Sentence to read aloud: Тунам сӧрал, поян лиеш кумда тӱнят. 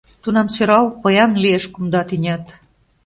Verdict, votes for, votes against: accepted, 2, 0